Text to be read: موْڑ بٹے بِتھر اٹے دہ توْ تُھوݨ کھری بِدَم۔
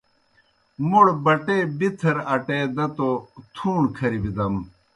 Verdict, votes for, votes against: accepted, 2, 0